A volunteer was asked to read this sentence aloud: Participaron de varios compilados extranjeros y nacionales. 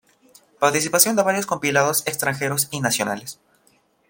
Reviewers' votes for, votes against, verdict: 1, 2, rejected